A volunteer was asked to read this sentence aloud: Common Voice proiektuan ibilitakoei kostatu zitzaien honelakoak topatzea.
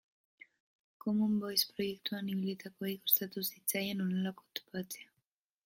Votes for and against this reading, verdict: 2, 0, accepted